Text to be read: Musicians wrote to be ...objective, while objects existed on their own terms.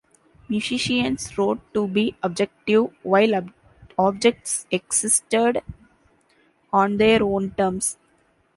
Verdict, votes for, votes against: rejected, 0, 2